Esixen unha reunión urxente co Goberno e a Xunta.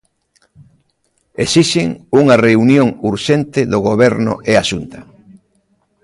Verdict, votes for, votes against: rejected, 0, 3